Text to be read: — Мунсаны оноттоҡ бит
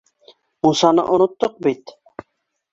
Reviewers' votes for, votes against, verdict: 2, 0, accepted